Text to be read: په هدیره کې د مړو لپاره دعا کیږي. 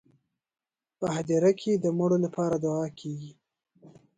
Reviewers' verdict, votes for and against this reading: rejected, 0, 2